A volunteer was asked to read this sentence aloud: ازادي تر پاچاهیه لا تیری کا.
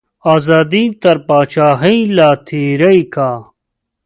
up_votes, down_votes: 3, 2